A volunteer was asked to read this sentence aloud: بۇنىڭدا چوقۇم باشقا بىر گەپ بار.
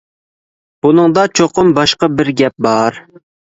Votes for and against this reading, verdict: 2, 0, accepted